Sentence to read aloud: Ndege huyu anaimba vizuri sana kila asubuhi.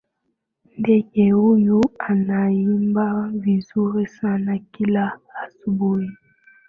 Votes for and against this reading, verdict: 2, 0, accepted